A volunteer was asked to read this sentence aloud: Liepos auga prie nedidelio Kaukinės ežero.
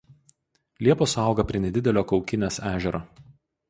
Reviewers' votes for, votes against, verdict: 4, 0, accepted